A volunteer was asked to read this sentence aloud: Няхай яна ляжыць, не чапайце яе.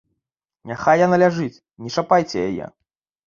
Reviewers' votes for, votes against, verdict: 2, 0, accepted